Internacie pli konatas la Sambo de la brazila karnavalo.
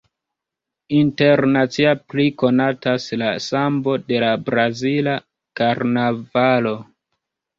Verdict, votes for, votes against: rejected, 0, 2